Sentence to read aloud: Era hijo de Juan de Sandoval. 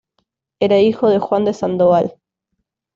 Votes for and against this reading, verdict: 2, 0, accepted